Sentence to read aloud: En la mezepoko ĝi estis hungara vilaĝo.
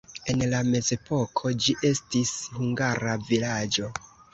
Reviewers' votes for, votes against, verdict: 1, 2, rejected